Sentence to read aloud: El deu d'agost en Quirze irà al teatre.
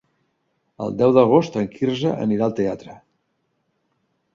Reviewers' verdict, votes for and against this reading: rejected, 1, 2